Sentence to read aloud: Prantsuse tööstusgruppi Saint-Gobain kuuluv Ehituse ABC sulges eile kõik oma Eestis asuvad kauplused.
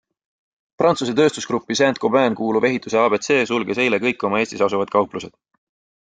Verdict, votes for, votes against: accepted, 2, 0